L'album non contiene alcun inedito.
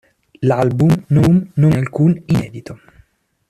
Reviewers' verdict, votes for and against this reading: rejected, 0, 2